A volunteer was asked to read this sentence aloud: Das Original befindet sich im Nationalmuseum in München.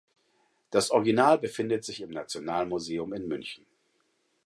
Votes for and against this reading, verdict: 4, 0, accepted